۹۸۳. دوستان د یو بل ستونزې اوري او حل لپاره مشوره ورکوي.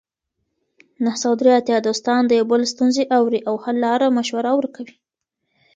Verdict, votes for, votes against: rejected, 0, 2